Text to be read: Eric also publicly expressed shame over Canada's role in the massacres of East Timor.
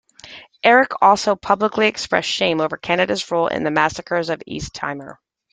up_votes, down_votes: 2, 0